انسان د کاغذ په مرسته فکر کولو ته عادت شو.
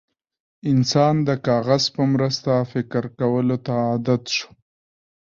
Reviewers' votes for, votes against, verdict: 2, 0, accepted